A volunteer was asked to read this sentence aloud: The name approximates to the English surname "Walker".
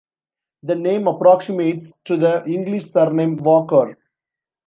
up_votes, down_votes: 2, 0